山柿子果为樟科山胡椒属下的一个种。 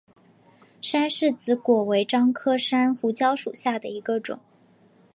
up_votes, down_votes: 3, 0